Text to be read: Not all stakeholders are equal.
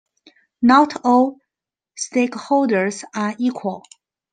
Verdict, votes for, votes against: accepted, 2, 0